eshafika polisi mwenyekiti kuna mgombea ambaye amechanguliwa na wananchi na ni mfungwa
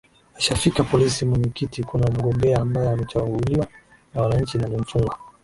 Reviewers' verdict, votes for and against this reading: accepted, 2, 0